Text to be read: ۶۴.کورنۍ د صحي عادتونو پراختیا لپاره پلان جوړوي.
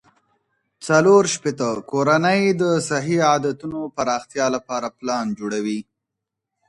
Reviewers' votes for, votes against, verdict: 0, 2, rejected